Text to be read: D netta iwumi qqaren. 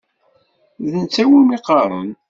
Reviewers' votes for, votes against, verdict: 2, 0, accepted